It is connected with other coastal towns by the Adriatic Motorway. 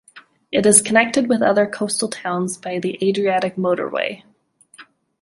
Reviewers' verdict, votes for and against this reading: accepted, 2, 0